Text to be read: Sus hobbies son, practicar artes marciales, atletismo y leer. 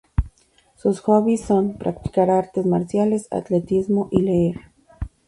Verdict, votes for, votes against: rejected, 2, 2